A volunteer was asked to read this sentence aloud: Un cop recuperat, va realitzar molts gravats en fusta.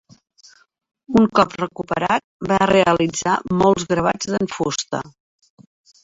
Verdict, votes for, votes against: rejected, 1, 2